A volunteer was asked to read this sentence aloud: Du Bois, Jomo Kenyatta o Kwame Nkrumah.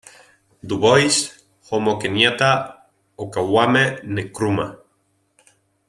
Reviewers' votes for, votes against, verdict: 2, 0, accepted